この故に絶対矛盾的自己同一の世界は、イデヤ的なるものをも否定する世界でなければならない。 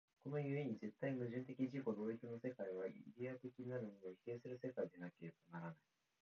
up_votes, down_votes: 1, 2